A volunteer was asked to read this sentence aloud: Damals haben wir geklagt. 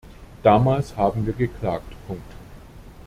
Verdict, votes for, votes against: rejected, 1, 2